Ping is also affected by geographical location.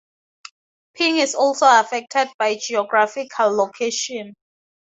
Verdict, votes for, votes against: accepted, 2, 0